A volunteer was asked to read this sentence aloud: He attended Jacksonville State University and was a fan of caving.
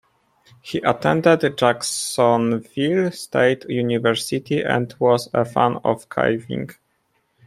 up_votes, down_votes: 2, 1